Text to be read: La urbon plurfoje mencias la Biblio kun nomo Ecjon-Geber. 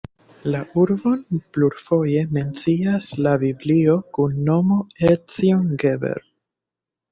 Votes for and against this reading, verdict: 1, 2, rejected